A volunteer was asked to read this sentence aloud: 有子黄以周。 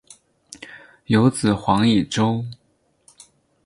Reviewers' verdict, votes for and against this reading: accepted, 6, 0